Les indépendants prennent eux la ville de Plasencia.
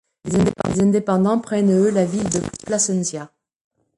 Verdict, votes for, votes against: rejected, 1, 2